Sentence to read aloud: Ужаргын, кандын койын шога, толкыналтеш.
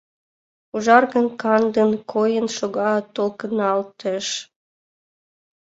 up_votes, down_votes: 2, 0